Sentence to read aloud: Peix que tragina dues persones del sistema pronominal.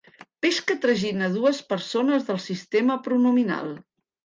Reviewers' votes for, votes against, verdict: 4, 0, accepted